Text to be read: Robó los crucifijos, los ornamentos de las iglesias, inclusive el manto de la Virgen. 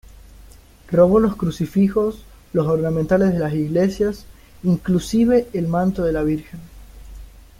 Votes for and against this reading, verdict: 1, 2, rejected